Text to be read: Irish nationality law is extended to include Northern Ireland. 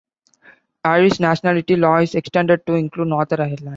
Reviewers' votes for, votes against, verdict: 2, 1, accepted